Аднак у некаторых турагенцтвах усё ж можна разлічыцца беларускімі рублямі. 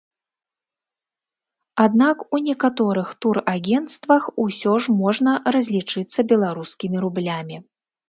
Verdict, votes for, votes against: accepted, 2, 0